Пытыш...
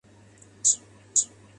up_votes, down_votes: 0, 2